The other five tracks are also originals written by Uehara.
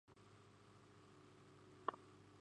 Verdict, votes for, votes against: rejected, 0, 2